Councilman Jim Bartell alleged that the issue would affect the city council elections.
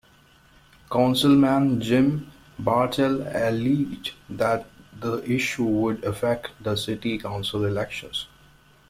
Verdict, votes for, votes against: rejected, 1, 2